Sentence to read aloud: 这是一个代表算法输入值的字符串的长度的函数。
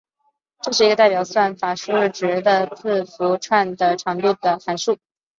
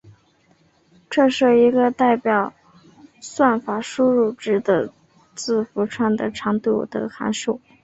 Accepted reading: second